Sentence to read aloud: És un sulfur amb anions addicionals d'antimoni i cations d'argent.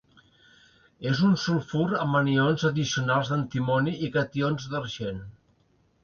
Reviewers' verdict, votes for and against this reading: accepted, 2, 0